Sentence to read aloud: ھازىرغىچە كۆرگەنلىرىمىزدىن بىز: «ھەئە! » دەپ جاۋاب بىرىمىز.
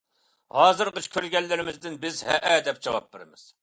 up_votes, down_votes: 2, 0